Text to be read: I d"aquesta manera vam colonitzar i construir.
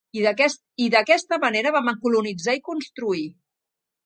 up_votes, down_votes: 0, 2